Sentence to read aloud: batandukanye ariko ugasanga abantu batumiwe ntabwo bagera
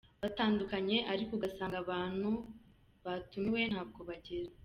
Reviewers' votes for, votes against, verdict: 2, 0, accepted